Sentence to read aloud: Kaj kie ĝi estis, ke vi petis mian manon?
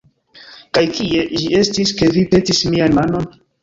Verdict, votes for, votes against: accepted, 2, 0